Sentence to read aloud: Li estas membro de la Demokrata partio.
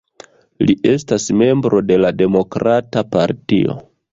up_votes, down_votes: 2, 0